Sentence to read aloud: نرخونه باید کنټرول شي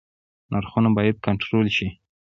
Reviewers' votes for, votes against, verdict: 2, 1, accepted